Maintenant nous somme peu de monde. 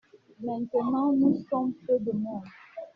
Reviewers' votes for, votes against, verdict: 1, 2, rejected